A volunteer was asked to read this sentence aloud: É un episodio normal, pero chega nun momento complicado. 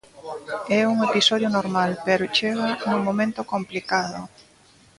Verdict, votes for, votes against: accepted, 2, 1